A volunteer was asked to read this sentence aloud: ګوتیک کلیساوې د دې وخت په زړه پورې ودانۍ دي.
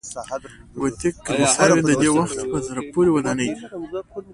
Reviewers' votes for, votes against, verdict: 2, 0, accepted